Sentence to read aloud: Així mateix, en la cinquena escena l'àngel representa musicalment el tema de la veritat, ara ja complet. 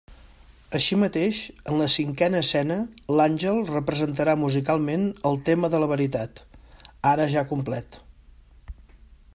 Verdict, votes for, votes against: rejected, 0, 2